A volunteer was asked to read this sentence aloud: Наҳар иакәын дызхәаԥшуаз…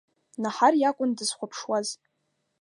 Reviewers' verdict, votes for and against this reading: accepted, 2, 0